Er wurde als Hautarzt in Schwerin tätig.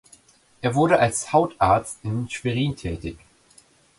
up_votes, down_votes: 2, 0